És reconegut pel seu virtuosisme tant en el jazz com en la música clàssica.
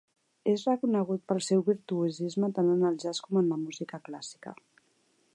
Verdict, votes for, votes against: accepted, 2, 0